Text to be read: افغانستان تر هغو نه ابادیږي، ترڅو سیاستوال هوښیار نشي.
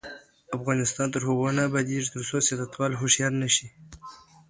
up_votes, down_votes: 2, 0